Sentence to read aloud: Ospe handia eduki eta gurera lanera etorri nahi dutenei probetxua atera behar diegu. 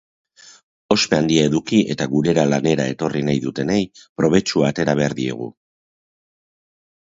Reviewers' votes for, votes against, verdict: 2, 0, accepted